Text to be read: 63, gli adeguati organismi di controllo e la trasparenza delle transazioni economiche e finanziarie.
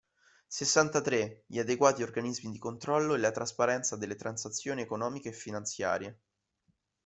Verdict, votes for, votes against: rejected, 0, 2